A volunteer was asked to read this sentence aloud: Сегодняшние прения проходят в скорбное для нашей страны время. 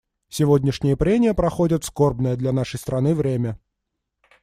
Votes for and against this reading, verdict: 2, 0, accepted